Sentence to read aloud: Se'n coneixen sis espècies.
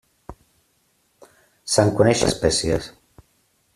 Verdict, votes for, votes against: rejected, 0, 2